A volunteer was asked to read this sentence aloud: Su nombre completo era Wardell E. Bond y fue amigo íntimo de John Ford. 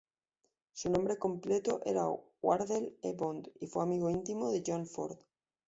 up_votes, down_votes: 1, 2